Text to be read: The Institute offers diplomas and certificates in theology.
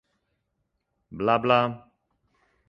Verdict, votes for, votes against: rejected, 0, 2